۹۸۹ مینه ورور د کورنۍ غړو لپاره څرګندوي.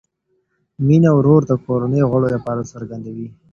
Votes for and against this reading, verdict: 0, 2, rejected